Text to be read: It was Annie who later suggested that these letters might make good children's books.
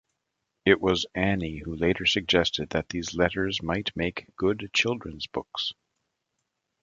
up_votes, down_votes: 2, 0